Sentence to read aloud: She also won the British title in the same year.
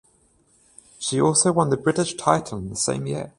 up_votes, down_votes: 14, 0